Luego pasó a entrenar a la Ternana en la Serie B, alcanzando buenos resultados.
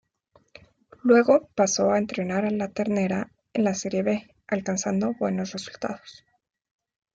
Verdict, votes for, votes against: rejected, 1, 2